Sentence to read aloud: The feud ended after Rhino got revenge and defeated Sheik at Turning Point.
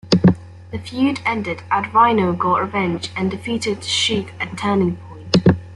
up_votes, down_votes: 2, 1